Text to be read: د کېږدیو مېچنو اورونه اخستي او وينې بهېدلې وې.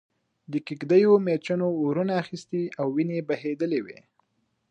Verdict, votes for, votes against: rejected, 1, 2